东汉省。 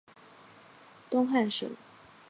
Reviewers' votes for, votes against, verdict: 2, 0, accepted